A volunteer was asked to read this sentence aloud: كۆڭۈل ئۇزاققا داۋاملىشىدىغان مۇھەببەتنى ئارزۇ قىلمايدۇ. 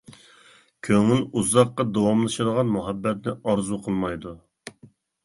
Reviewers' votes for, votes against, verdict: 2, 0, accepted